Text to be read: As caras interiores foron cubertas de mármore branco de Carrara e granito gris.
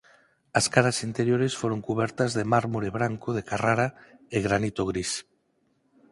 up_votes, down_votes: 4, 0